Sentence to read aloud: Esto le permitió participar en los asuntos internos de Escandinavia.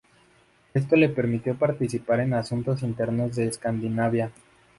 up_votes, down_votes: 0, 2